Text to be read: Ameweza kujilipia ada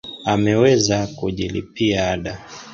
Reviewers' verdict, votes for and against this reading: accepted, 2, 1